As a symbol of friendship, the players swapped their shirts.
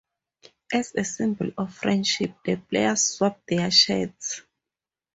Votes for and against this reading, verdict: 2, 2, rejected